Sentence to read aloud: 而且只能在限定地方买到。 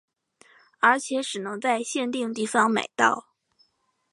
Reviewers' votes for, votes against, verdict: 2, 2, rejected